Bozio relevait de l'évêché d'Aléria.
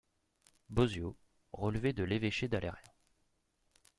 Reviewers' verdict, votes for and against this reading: rejected, 0, 2